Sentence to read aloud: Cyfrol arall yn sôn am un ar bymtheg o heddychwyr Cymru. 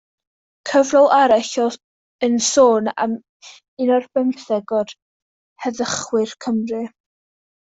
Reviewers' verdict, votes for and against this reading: rejected, 0, 2